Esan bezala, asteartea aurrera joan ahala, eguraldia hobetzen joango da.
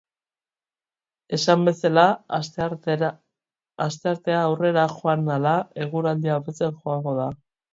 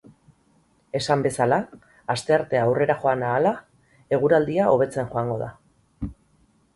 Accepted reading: second